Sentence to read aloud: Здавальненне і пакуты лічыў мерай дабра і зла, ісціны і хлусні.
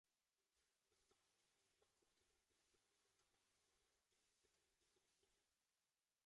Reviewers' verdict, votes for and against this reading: rejected, 0, 2